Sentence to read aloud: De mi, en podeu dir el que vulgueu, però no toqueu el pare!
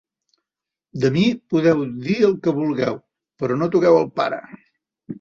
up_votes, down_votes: 0, 2